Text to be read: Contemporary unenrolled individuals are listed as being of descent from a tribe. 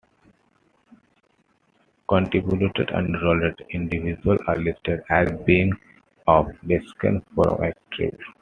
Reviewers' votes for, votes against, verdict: 1, 2, rejected